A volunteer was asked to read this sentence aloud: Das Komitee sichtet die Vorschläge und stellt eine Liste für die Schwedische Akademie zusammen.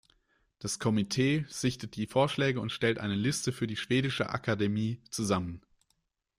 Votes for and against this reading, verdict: 2, 1, accepted